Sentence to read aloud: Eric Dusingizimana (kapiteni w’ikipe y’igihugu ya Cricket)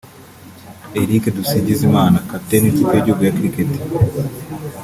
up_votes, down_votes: 2, 0